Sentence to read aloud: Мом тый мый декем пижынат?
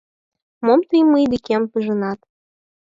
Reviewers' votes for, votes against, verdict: 4, 2, accepted